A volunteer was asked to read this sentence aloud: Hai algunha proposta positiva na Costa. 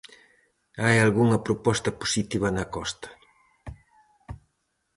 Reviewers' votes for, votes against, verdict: 4, 0, accepted